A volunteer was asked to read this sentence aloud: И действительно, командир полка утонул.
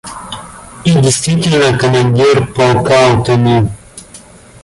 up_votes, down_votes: 2, 0